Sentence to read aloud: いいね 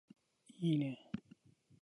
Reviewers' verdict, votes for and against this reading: rejected, 2, 2